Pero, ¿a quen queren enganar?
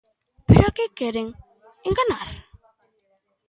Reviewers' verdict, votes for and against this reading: rejected, 0, 2